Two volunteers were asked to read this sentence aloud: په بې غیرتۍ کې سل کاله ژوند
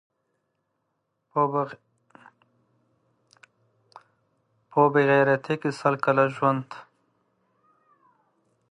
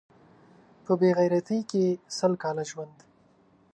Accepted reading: second